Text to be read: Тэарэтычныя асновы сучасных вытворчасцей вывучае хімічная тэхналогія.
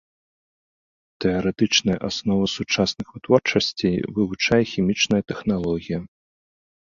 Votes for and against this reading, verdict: 3, 0, accepted